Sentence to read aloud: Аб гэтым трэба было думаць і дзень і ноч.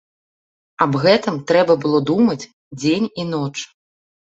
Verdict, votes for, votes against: rejected, 0, 2